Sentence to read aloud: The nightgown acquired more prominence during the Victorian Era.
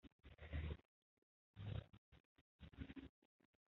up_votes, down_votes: 0, 2